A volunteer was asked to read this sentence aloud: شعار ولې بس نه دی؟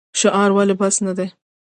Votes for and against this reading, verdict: 1, 2, rejected